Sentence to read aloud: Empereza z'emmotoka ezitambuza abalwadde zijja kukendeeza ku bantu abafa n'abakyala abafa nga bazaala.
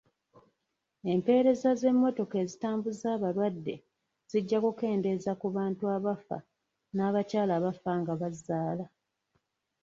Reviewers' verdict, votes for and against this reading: accepted, 2, 0